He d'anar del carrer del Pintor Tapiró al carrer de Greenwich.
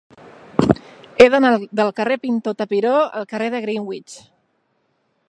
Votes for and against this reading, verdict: 0, 3, rejected